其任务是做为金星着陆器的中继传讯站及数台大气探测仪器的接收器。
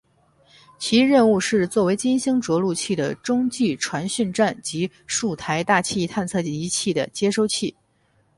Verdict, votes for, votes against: accepted, 6, 0